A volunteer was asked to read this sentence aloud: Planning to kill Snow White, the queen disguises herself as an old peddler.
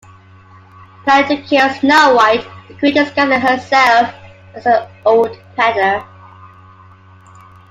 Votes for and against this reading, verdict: 0, 2, rejected